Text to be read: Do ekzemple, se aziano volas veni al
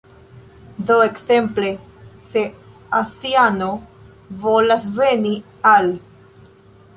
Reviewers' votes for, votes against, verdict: 0, 2, rejected